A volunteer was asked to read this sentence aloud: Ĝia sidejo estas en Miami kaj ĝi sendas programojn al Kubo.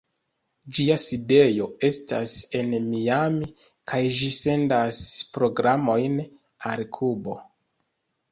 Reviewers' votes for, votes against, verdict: 2, 1, accepted